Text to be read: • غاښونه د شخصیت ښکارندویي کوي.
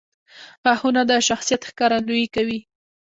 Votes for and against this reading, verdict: 1, 2, rejected